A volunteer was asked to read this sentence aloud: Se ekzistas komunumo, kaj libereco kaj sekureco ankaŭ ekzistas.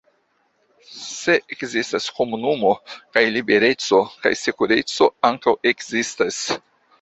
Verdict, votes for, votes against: rejected, 1, 2